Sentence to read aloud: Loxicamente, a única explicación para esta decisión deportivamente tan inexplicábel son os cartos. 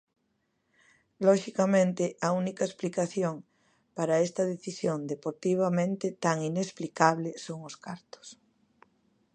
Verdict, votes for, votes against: rejected, 0, 2